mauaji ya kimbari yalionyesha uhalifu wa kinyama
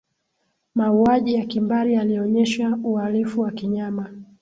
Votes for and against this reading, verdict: 2, 0, accepted